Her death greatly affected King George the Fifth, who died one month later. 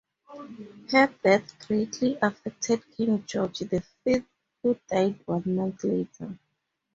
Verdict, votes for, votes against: rejected, 0, 2